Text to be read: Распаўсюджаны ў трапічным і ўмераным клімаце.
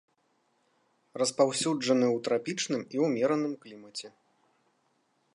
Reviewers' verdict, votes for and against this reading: accepted, 2, 0